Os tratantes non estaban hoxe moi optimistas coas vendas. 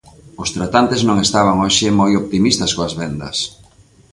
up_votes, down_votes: 2, 0